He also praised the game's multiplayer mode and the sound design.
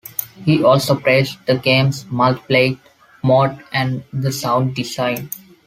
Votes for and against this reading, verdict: 2, 1, accepted